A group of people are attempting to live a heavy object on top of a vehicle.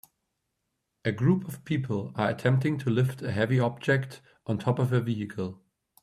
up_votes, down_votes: 0, 2